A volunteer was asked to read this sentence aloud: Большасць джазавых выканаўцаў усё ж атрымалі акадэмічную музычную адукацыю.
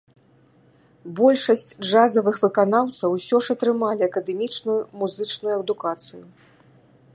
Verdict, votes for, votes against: accepted, 2, 0